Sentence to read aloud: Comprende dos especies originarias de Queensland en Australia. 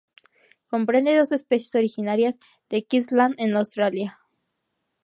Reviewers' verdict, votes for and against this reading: accepted, 2, 0